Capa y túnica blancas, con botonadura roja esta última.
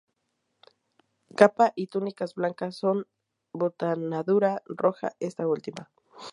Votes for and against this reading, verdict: 0, 2, rejected